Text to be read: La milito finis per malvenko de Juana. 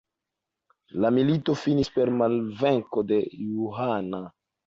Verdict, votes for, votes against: rejected, 0, 2